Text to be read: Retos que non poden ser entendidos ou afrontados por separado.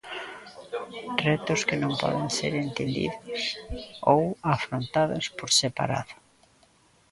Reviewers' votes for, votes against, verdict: 2, 1, accepted